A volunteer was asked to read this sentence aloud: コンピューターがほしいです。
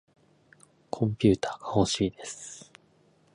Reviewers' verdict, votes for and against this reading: rejected, 0, 2